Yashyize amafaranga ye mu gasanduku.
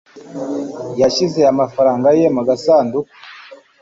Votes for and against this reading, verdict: 2, 0, accepted